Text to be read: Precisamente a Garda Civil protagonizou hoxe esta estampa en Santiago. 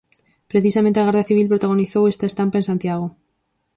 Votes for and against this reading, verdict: 0, 4, rejected